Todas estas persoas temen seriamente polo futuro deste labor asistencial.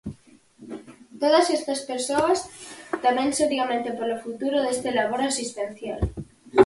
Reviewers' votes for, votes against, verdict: 4, 2, accepted